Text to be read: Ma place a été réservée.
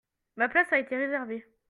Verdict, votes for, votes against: accepted, 2, 0